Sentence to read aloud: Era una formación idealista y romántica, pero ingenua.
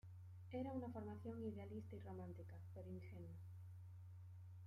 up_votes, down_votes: 2, 1